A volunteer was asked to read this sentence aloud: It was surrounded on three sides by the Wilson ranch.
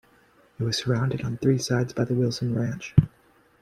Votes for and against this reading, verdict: 1, 2, rejected